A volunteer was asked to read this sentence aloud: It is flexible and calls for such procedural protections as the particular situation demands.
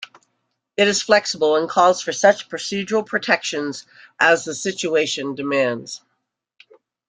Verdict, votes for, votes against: rejected, 0, 2